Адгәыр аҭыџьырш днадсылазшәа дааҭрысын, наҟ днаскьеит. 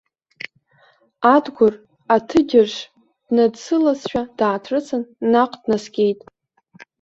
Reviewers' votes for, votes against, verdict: 1, 2, rejected